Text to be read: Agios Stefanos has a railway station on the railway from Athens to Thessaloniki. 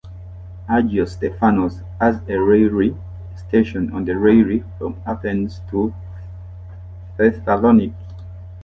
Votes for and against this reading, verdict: 0, 2, rejected